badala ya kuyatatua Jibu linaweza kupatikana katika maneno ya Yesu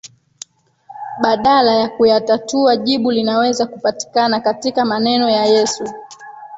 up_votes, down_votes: 0, 2